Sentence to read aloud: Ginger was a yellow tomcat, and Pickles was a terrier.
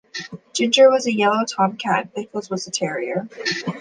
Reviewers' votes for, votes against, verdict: 2, 0, accepted